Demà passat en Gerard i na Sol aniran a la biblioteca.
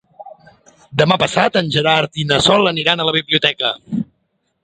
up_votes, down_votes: 2, 0